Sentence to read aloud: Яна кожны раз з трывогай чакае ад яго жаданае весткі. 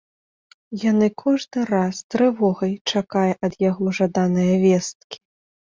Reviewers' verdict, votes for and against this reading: rejected, 1, 2